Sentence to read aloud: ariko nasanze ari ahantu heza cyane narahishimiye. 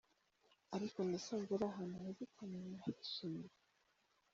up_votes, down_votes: 1, 3